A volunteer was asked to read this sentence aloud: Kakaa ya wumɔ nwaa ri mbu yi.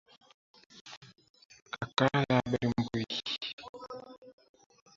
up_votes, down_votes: 0, 2